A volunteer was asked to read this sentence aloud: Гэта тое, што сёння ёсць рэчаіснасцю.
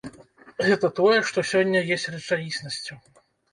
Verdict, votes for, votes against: rejected, 0, 2